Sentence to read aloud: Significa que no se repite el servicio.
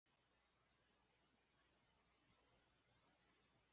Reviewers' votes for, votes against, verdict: 2, 0, accepted